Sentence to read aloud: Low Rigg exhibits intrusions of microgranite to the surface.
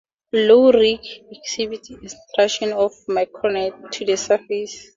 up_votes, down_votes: 2, 4